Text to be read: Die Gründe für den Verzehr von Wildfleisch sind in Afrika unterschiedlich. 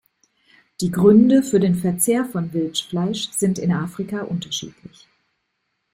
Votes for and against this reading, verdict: 0, 2, rejected